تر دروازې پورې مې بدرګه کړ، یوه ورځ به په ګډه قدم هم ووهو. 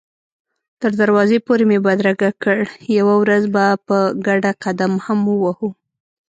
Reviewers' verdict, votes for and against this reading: accepted, 2, 0